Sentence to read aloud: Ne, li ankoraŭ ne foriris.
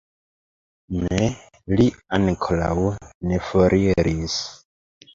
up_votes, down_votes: 2, 0